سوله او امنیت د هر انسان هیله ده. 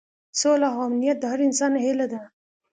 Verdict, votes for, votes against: accepted, 3, 0